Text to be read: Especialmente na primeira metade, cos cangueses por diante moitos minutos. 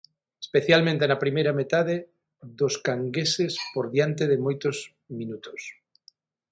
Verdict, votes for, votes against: rejected, 0, 6